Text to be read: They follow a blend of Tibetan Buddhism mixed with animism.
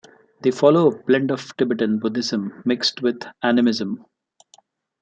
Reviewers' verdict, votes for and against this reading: accepted, 2, 1